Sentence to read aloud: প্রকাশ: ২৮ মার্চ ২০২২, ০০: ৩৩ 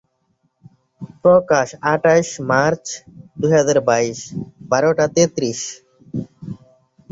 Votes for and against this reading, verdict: 0, 2, rejected